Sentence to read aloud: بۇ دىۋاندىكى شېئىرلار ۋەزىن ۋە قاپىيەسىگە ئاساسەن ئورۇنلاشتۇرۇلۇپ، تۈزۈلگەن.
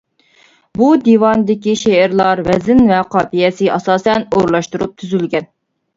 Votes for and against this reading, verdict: 1, 2, rejected